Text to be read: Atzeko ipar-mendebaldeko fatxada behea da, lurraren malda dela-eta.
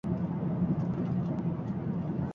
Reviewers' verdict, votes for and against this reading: rejected, 0, 4